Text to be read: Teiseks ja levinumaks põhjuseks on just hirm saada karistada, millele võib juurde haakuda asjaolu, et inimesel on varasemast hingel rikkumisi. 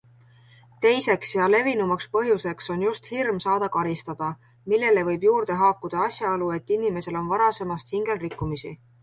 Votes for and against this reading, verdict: 2, 0, accepted